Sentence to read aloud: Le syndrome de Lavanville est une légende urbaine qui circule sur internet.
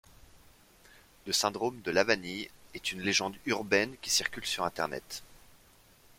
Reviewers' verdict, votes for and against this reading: rejected, 1, 3